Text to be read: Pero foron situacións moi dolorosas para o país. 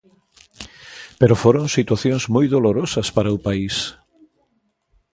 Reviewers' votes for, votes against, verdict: 0, 2, rejected